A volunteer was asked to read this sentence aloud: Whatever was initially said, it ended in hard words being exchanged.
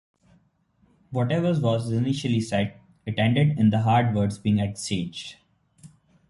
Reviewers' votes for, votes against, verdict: 1, 2, rejected